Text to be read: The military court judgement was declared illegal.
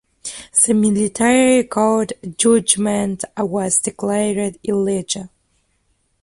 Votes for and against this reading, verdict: 0, 2, rejected